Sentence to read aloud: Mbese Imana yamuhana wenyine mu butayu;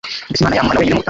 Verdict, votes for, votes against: rejected, 1, 2